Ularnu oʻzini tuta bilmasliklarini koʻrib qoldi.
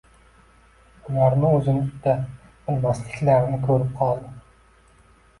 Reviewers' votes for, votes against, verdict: 1, 2, rejected